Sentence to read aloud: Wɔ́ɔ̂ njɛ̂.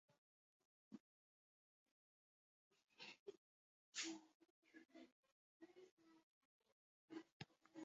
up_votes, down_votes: 1, 2